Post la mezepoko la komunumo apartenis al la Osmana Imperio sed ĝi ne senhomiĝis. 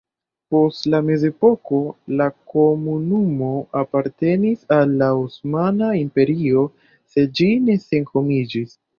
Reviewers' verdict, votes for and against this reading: rejected, 1, 2